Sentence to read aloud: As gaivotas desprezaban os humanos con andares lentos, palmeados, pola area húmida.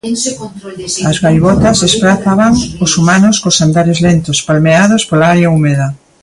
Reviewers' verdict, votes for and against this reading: rejected, 0, 2